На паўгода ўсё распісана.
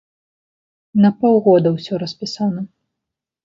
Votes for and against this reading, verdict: 1, 2, rejected